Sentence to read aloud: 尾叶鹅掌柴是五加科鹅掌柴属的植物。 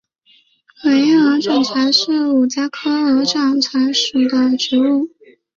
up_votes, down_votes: 3, 1